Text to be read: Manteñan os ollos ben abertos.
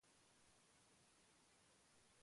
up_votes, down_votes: 0, 2